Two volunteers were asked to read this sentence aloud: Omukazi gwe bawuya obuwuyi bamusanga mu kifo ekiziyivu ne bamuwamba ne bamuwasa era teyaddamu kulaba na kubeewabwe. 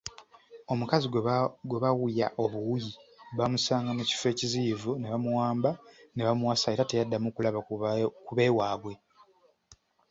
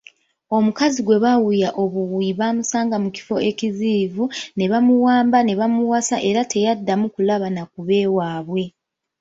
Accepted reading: second